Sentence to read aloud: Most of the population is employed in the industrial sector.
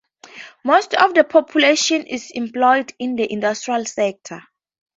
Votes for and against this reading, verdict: 2, 0, accepted